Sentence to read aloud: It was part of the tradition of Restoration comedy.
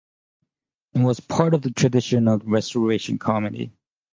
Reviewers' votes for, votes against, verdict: 2, 0, accepted